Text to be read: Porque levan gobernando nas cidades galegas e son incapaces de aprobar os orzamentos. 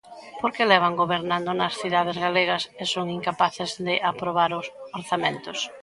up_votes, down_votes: 2, 1